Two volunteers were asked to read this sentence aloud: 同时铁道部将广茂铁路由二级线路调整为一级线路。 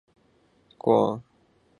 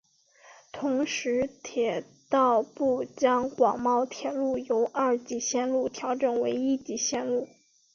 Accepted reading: second